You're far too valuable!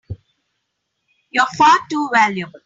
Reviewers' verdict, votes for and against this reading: accepted, 2, 1